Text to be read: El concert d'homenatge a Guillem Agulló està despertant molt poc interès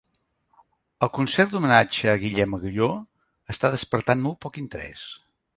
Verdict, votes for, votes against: accepted, 3, 0